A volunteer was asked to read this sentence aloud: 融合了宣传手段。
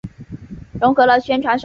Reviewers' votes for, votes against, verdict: 2, 0, accepted